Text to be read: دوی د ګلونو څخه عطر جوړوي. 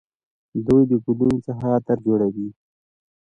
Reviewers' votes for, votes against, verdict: 2, 0, accepted